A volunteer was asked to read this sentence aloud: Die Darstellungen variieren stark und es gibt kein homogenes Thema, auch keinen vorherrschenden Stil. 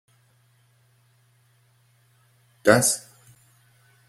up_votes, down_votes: 0, 2